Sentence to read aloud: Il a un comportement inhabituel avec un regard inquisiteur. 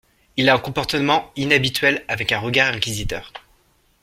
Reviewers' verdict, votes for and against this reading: accepted, 2, 0